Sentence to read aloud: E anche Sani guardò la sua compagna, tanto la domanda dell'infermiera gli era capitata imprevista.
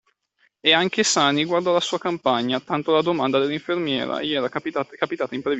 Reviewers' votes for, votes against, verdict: 0, 2, rejected